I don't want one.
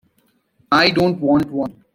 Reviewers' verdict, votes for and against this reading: accepted, 2, 0